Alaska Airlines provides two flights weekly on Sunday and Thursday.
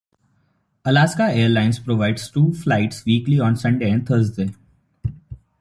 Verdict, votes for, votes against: accepted, 3, 0